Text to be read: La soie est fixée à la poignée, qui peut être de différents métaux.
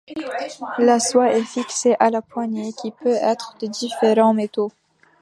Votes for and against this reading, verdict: 2, 1, accepted